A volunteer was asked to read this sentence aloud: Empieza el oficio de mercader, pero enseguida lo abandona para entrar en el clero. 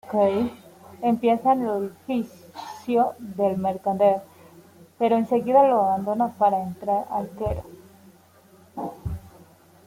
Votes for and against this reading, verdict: 0, 2, rejected